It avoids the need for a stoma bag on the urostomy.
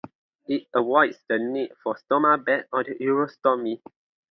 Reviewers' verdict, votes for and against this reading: rejected, 0, 2